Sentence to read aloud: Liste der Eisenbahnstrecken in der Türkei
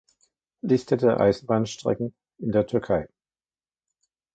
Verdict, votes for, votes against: rejected, 0, 2